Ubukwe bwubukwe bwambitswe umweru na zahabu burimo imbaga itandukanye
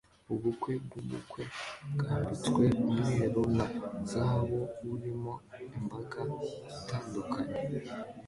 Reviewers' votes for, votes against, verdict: 1, 2, rejected